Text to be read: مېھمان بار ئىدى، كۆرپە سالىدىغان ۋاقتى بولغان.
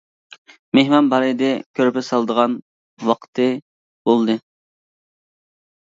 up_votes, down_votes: 0, 2